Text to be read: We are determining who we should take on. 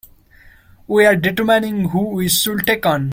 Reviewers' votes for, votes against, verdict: 2, 1, accepted